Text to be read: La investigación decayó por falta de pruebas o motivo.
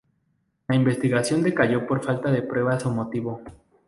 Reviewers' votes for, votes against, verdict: 2, 0, accepted